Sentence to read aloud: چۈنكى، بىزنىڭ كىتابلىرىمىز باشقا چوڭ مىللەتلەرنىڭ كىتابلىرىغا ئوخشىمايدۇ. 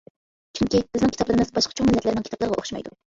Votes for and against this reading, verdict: 2, 1, accepted